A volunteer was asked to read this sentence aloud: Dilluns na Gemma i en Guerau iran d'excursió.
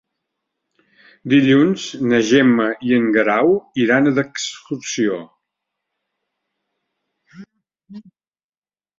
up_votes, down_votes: 3, 0